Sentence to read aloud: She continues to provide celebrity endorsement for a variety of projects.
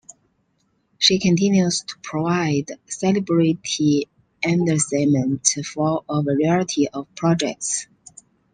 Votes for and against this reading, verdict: 2, 0, accepted